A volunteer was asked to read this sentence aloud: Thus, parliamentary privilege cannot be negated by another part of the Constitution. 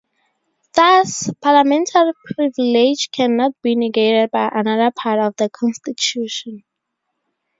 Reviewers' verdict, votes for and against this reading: rejected, 0, 2